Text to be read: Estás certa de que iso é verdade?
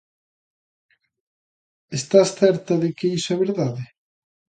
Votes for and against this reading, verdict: 2, 0, accepted